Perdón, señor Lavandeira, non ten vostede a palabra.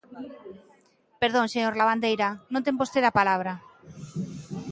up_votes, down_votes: 2, 0